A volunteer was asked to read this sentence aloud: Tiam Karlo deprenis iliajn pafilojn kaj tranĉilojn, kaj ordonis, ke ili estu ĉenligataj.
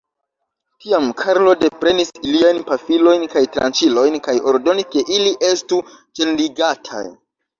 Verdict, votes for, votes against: accepted, 2, 1